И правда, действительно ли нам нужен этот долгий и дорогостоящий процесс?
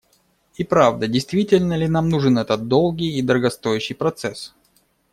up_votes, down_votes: 2, 0